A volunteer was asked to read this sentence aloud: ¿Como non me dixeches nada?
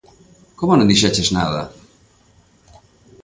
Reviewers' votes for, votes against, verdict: 0, 2, rejected